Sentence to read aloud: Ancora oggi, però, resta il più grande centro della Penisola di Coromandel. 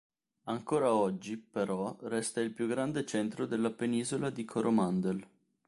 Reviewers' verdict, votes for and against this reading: accepted, 2, 0